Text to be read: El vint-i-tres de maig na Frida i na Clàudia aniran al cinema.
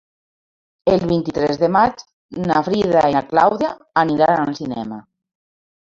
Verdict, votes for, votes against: rejected, 1, 2